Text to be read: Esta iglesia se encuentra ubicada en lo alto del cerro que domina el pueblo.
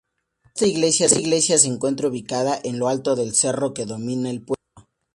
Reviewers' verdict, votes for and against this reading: rejected, 0, 4